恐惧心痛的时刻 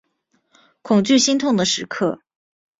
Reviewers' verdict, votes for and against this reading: accepted, 4, 0